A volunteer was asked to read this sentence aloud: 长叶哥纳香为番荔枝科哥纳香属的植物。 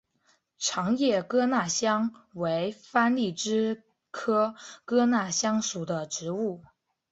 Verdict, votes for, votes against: accepted, 3, 0